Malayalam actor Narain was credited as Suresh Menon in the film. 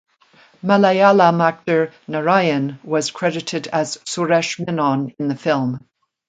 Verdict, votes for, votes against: rejected, 1, 2